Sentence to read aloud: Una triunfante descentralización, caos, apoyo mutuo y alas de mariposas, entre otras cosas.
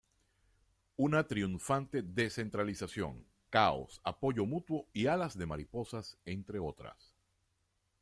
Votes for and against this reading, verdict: 0, 2, rejected